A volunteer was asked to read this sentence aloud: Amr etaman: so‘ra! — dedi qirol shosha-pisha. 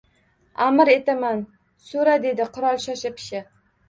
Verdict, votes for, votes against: rejected, 1, 2